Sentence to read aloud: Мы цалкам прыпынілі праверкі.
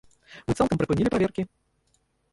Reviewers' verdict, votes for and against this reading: rejected, 0, 2